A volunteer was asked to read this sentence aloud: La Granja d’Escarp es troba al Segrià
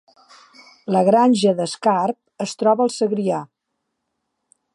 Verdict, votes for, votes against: accepted, 4, 0